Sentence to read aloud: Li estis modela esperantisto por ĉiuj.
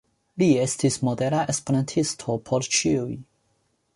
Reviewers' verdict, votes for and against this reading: accepted, 2, 0